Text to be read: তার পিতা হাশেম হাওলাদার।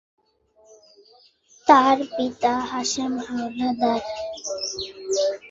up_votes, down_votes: 2, 2